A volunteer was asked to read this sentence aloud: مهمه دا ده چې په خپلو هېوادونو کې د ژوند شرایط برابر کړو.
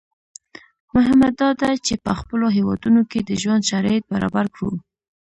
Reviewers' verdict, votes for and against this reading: accepted, 2, 0